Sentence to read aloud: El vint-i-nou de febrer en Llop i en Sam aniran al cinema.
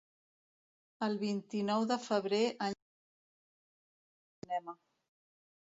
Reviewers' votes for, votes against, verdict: 0, 2, rejected